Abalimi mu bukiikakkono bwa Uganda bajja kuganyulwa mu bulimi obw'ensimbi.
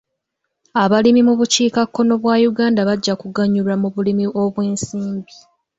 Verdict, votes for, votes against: accepted, 2, 0